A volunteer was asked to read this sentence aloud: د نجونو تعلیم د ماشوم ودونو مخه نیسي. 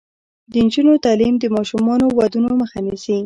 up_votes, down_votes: 2, 1